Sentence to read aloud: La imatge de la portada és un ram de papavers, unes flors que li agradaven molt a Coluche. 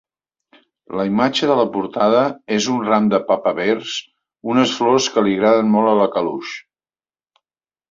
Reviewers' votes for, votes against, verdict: 0, 2, rejected